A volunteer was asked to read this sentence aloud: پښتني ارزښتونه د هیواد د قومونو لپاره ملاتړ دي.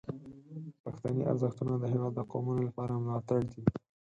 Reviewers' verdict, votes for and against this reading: accepted, 4, 0